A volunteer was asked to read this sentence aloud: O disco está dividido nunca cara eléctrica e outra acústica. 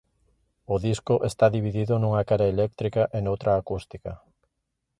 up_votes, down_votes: 1, 2